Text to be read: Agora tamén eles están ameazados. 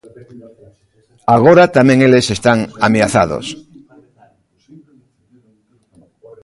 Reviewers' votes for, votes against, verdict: 0, 2, rejected